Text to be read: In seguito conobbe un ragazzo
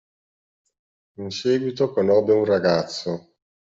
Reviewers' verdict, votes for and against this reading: accepted, 2, 0